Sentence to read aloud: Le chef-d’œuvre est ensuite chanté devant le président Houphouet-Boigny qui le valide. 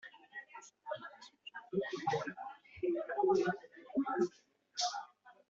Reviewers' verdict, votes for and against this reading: rejected, 0, 2